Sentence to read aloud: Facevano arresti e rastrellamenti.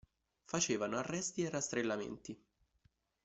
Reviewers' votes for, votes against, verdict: 2, 0, accepted